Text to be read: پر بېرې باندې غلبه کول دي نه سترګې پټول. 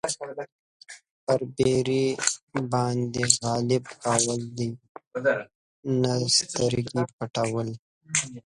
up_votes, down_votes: 2, 1